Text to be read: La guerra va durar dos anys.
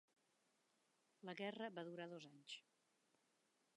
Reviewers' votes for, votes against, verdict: 2, 1, accepted